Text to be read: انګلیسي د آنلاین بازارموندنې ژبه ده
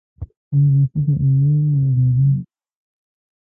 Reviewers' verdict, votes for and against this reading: rejected, 1, 2